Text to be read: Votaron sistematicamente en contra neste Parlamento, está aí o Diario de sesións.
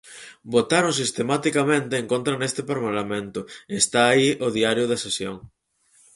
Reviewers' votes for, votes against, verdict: 2, 2, rejected